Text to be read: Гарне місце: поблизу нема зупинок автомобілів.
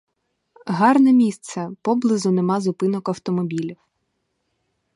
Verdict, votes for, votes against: rejected, 2, 2